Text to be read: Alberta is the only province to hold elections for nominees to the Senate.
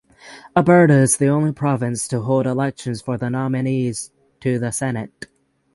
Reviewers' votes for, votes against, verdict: 0, 3, rejected